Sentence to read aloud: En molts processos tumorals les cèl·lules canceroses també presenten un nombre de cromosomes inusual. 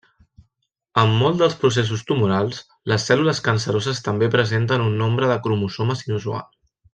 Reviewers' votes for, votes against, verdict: 1, 2, rejected